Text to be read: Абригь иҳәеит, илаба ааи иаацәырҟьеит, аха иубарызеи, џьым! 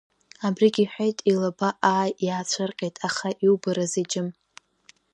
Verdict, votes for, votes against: rejected, 1, 2